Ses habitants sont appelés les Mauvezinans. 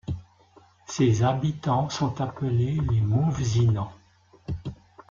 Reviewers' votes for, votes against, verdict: 2, 3, rejected